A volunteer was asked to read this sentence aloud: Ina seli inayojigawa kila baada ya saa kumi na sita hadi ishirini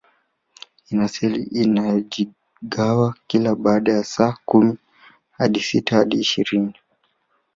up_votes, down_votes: 0, 2